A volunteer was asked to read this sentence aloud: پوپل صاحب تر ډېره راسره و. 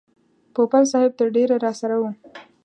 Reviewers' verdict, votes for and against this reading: accepted, 2, 0